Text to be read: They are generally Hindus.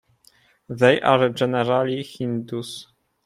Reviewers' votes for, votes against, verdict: 2, 1, accepted